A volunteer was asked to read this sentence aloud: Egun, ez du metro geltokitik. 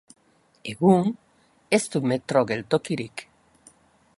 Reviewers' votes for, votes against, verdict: 0, 2, rejected